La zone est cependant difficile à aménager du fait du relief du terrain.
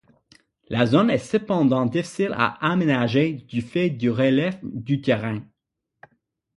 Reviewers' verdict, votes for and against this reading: accepted, 6, 0